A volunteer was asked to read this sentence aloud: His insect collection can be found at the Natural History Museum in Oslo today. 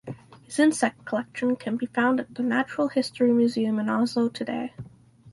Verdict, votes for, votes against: accepted, 4, 0